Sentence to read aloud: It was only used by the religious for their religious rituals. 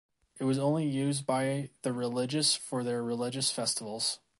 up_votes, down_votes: 1, 2